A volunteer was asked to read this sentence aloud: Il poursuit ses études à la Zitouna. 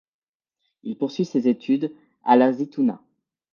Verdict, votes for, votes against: accepted, 2, 0